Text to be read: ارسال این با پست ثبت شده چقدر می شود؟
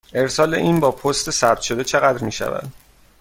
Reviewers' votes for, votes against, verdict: 2, 0, accepted